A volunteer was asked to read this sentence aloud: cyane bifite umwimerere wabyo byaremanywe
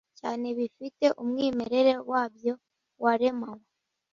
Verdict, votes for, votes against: rejected, 1, 2